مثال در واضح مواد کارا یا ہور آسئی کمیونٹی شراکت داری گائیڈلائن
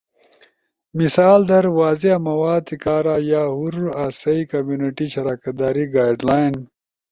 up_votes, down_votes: 2, 0